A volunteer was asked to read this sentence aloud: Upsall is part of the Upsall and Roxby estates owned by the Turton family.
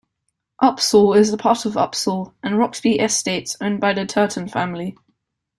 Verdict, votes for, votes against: rejected, 1, 2